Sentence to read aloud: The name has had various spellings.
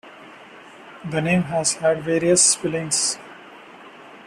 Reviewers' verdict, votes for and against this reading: rejected, 0, 2